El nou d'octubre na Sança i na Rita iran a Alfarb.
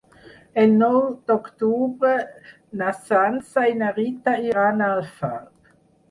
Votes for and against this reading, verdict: 0, 4, rejected